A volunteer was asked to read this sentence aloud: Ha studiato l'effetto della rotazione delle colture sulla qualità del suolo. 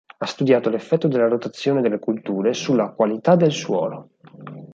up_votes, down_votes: 4, 2